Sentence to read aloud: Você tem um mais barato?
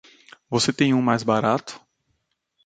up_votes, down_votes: 2, 0